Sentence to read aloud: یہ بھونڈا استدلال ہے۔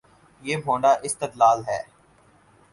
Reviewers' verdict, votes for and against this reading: accepted, 4, 0